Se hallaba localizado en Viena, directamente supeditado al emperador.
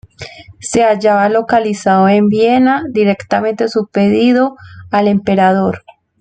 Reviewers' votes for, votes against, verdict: 1, 2, rejected